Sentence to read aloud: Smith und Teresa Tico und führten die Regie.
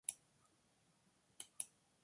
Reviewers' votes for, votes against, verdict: 1, 2, rejected